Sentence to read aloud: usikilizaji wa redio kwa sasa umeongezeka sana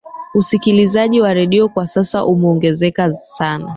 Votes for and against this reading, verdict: 2, 3, rejected